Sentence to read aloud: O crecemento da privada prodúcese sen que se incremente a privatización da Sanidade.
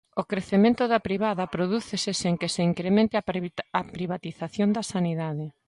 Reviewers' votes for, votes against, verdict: 0, 2, rejected